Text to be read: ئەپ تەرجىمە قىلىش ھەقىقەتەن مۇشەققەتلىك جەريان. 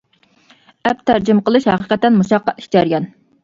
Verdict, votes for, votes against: accepted, 2, 1